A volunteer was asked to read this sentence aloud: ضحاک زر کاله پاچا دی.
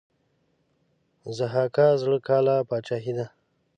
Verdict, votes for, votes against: rejected, 3, 5